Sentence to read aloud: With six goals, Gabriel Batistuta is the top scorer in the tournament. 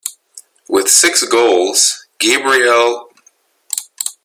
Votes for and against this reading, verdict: 0, 2, rejected